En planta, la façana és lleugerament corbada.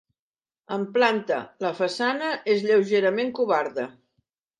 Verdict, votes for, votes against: rejected, 0, 2